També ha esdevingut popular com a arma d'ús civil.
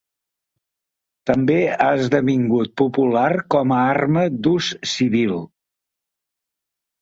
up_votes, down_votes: 2, 0